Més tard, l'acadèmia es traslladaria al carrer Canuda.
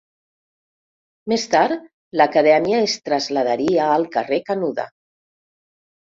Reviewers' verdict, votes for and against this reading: rejected, 1, 2